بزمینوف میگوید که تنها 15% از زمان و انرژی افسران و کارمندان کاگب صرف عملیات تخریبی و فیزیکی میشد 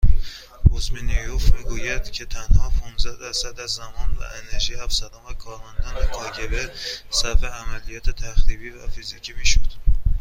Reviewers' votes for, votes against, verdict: 0, 2, rejected